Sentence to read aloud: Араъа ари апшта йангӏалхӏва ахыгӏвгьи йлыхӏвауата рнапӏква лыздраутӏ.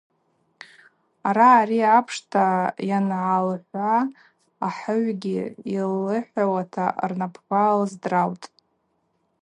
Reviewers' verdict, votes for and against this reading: rejected, 2, 2